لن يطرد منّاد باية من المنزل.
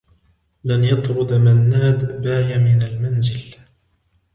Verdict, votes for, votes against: rejected, 1, 2